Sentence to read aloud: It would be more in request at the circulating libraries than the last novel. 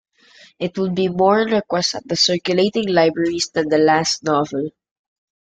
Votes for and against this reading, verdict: 2, 0, accepted